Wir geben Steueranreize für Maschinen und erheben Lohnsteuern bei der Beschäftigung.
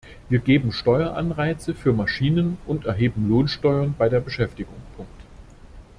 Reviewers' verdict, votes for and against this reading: rejected, 0, 2